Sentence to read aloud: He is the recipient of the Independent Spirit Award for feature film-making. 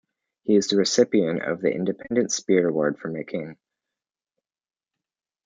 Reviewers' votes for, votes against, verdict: 1, 2, rejected